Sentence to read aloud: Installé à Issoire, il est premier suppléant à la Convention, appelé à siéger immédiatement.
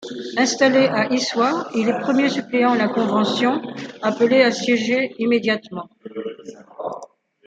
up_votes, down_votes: 2, 0